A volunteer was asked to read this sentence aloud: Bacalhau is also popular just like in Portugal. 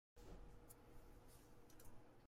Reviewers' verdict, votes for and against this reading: rejected, 0, 2